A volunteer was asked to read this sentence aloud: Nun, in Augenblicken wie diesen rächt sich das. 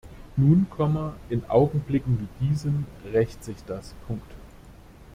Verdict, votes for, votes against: rejected, 0, 2